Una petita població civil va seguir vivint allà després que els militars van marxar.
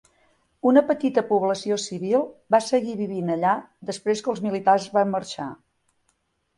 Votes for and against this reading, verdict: 3, 0, accepted